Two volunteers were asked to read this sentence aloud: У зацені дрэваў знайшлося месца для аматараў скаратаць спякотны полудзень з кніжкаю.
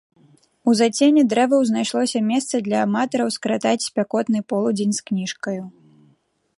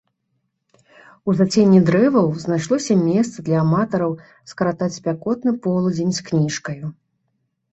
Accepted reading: first